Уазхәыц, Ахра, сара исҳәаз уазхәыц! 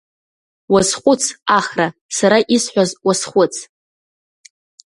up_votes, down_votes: 2, 0